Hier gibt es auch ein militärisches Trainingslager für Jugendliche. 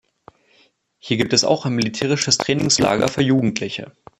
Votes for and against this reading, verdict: 2, 1, accepted